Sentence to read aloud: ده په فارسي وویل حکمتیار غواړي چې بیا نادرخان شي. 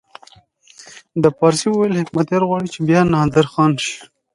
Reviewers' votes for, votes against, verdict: 2, 0, accepted